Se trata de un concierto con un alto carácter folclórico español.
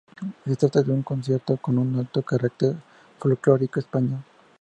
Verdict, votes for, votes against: accepted, 4, 0